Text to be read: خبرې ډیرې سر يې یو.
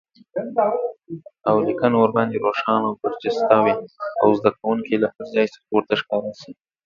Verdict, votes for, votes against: rejected, 0, 2